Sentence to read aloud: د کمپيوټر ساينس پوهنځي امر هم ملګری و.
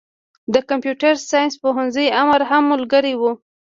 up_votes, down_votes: 2, 0